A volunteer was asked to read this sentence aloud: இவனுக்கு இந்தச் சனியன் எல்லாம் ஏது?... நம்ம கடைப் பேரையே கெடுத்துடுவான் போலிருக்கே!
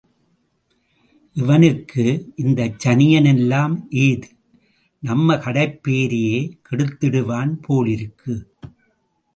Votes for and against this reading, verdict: 2, 0, accepted